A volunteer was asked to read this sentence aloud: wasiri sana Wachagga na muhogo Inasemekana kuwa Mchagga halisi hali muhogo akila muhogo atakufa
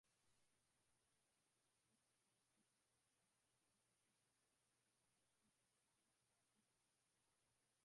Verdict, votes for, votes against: rejected, 0, 2